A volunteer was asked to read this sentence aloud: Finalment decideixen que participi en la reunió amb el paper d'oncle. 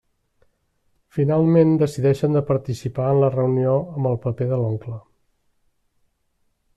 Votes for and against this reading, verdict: 0, 2, rejected